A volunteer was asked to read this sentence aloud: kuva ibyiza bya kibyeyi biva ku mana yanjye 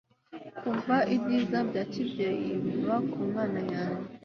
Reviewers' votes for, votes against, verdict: 3, 0, accepted